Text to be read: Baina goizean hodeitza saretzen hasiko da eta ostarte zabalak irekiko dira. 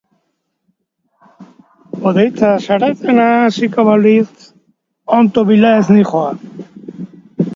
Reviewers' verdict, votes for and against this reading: rejected, 0, 3